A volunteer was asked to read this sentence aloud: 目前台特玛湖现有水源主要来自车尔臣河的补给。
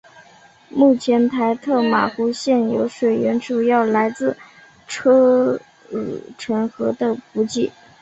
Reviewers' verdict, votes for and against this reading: accepted, 3, 1